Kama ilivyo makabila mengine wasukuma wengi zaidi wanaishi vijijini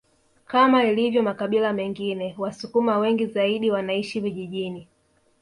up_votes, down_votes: 0, 2